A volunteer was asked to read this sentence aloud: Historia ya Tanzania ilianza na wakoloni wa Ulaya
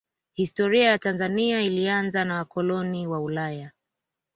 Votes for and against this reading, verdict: 2, 1, accepted